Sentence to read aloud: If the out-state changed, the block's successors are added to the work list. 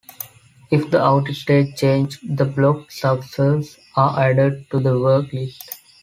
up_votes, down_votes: 0, 2